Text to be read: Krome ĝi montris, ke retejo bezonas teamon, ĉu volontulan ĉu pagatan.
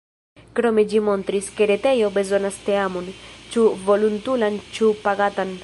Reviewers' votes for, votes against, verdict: 2, 0, accepted